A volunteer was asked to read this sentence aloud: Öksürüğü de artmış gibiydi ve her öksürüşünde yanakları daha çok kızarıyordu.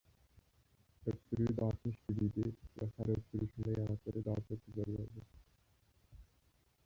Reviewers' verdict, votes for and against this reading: rejected, 1, 2